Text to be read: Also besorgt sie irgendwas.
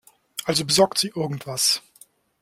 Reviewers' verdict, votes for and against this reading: accepted, 2, 0